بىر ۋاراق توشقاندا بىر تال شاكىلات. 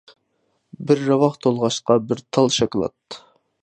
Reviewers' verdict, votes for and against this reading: rejected, 0, 2